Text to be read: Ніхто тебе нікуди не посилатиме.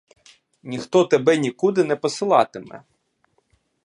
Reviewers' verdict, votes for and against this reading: accepted, 2, 0